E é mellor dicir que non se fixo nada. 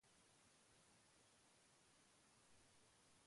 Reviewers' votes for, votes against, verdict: 0, 2, rejected